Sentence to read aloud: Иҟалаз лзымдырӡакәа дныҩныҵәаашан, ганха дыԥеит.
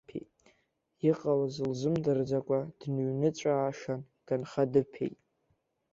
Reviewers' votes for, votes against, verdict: 2, 0, accepted